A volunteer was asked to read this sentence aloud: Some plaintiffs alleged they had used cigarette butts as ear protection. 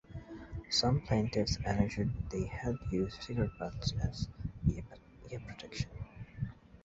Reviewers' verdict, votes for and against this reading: rejected, 0, 2